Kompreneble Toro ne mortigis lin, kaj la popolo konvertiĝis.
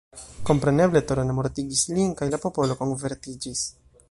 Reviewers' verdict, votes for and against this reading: rejected, 0, 2